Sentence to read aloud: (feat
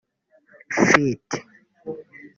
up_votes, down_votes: 1, 2